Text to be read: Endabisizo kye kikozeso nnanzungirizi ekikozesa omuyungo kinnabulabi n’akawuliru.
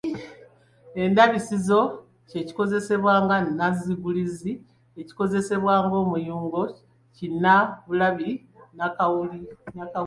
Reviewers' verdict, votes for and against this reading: rejected, 0, 2